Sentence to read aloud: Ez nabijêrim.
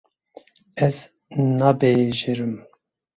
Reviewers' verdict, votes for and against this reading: rejected, 0, 2